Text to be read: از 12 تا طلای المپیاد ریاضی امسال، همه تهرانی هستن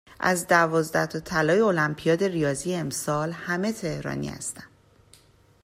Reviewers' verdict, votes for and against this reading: rejected, 0, 2